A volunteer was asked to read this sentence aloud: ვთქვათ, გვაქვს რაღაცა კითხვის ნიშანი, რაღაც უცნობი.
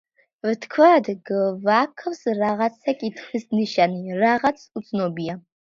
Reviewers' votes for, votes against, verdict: 0, 2, rejected